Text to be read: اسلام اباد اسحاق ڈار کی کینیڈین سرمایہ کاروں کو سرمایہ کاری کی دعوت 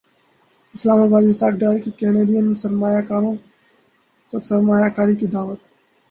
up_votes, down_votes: 0, 2